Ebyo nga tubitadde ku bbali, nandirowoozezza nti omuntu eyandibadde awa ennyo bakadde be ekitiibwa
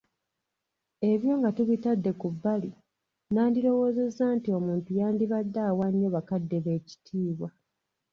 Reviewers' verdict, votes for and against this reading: rejected, 1, 2